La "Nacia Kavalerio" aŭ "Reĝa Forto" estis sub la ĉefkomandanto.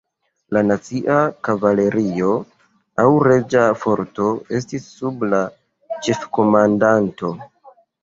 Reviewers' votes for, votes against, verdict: 2, 0, accepted